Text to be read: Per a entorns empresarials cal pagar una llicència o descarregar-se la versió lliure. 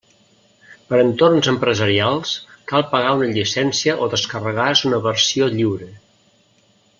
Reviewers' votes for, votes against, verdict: 0, 2, rejected